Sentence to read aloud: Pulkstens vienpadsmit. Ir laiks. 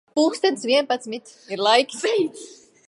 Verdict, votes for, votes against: rejected, 1, 2